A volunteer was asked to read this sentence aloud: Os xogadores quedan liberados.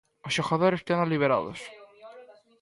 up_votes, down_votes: 2, 0